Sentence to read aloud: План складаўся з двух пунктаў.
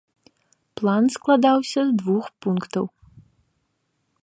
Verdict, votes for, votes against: accepted, 2, 0